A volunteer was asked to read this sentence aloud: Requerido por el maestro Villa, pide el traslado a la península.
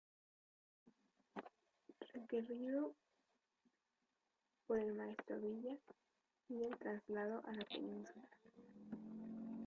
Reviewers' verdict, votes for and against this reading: rejected, 0, 2